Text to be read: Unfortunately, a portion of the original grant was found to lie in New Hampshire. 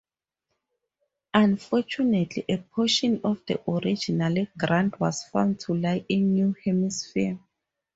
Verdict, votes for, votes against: rejected, 0, 2